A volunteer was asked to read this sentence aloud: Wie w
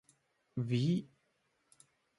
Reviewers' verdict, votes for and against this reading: rejected, 0, 3